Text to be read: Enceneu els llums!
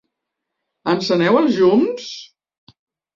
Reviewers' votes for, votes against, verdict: 1, 2, rejected